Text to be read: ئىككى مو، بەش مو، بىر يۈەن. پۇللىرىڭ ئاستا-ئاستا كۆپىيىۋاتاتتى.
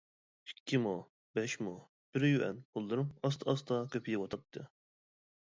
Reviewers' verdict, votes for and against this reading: rejected, 1, 2